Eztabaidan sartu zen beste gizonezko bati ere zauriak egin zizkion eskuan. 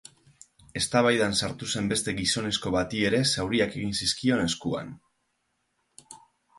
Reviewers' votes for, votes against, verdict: 2, 0, accepted